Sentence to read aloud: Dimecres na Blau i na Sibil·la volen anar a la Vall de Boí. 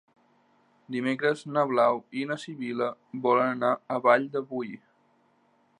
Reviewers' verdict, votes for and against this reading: rejected, 1, 2